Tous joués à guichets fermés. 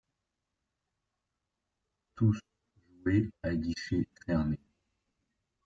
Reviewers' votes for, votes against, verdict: 1, 2, rejected